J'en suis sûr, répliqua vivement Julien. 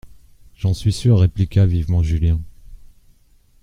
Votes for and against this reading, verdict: 2, 0, accepted